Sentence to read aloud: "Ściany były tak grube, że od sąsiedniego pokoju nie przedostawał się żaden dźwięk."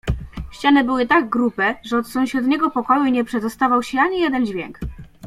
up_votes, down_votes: 1, 2